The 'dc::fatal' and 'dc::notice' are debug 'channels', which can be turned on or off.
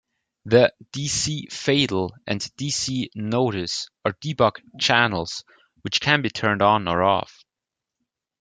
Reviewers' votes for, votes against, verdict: 2, 0, accepted